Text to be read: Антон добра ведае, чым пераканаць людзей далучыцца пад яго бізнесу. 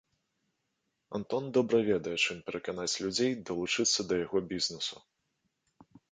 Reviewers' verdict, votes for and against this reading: rejected, 0, 2